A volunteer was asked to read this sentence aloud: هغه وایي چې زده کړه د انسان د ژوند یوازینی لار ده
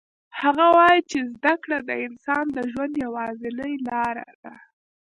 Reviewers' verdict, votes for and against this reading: accepted, 2, 1